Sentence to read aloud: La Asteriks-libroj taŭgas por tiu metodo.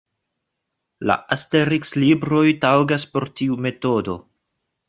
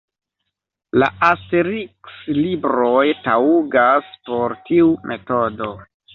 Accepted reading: first